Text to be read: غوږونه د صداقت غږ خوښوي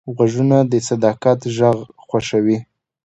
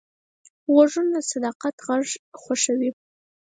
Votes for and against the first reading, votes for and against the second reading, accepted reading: 2, 0, 2, 4, first